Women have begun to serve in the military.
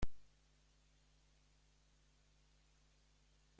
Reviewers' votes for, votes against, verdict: 0, 2, rejected